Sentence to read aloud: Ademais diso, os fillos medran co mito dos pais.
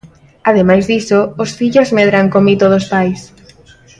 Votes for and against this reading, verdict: 2, 0, accepted